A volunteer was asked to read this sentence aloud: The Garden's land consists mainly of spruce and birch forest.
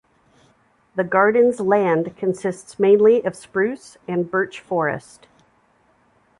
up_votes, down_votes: 2, 0